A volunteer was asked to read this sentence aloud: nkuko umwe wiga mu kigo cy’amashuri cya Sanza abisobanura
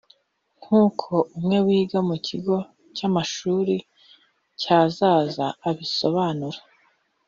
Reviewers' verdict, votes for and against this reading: rejected, 0, 2